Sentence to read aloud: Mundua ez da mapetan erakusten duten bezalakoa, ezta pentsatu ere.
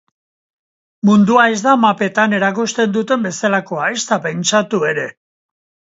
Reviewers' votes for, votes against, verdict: 2, 1, accepted